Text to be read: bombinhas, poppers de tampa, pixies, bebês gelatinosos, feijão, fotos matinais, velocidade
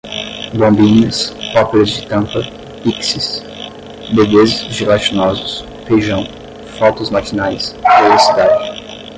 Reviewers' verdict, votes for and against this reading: rejected, 0, 5